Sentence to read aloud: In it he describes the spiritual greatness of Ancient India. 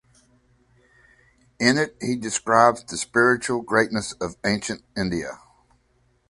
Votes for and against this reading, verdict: 5, 0, accepted